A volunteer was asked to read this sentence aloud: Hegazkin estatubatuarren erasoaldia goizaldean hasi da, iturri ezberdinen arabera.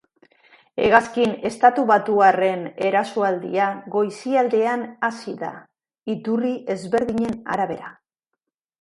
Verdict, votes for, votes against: rejected, 1, 2